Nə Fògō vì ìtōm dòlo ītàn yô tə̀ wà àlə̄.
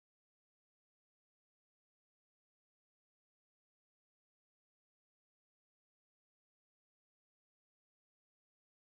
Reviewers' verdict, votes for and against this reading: rejected, 0, 2